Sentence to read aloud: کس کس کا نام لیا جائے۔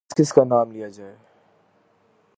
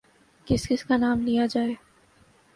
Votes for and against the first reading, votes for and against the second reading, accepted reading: 1, 2, 7, 0, second